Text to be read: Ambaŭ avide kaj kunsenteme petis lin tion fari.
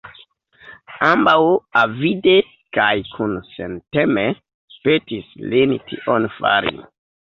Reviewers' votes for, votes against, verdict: 0, 2, rejected